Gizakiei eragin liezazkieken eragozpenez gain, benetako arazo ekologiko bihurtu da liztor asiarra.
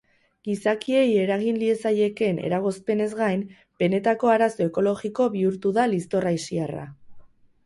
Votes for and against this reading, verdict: 2, 2, rejected